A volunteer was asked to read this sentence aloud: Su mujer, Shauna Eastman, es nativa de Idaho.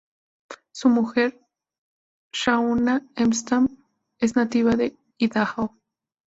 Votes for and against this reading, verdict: 0, 2, rejected